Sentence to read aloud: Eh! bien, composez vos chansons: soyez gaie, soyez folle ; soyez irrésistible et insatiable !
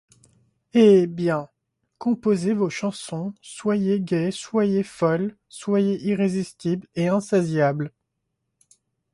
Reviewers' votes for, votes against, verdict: 1, 2, rejected